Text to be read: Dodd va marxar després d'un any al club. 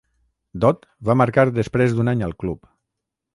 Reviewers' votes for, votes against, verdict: 0, 6, rejected